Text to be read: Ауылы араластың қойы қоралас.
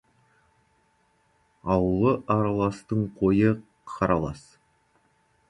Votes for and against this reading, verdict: 1, 2, rejected